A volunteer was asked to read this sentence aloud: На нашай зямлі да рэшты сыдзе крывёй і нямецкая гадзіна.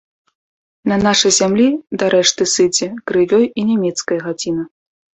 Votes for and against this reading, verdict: 1, 2, rejected